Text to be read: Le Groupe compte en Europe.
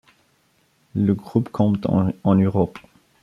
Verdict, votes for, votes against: rejected, 0, 2